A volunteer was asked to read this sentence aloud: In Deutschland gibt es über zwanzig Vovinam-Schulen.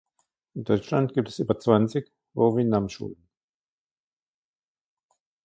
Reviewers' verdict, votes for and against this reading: rejected, 2, 3